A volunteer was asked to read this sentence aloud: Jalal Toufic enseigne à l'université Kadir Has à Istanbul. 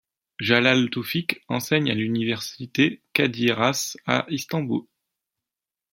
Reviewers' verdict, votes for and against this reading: accepted, 2, 0